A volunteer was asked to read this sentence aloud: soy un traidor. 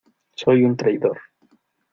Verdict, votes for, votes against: accepted, 2, 0